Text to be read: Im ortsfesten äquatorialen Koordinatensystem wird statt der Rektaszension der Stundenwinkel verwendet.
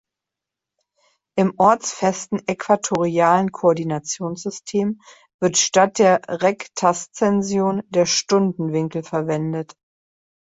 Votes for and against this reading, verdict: 0, 2, rejected